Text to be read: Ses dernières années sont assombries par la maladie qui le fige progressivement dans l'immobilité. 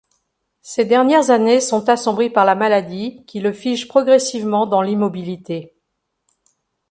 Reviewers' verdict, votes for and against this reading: rejected, 1, 2